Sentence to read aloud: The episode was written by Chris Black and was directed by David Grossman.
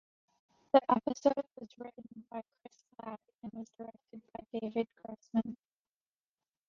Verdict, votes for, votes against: rejected, 0, 2